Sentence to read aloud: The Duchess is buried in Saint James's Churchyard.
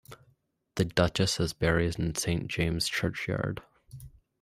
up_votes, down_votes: 1, 2